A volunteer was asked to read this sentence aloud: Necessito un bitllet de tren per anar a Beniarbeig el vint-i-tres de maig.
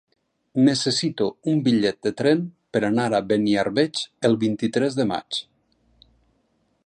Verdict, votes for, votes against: accepted, 6, 0